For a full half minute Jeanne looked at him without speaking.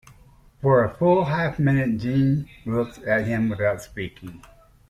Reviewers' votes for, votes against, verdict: 3, 0, accepted